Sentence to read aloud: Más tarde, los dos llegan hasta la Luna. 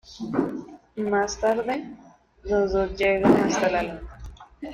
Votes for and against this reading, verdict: 0, 2, rejected